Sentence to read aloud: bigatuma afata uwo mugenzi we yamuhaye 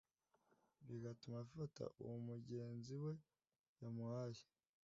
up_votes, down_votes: 2, 0